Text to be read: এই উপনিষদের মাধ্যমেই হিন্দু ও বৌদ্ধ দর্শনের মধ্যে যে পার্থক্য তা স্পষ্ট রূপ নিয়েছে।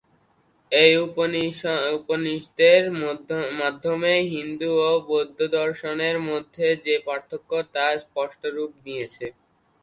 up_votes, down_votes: 0, 2